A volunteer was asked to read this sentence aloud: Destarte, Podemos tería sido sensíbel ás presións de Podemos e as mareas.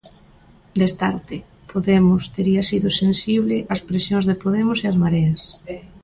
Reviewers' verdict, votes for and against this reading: accepted, 2, 0